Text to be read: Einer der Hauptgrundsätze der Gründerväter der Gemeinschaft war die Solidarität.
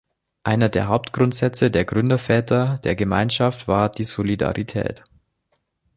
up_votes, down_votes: 2, 0